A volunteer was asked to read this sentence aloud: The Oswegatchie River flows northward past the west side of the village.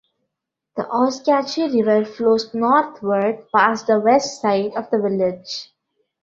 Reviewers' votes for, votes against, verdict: 0, 2, rejected